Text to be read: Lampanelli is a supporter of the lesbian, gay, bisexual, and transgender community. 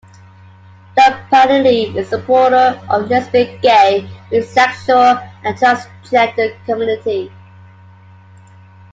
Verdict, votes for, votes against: rejected, 0, 2